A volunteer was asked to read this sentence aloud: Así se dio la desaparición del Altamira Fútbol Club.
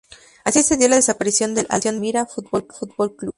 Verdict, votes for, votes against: rejected, 0, 2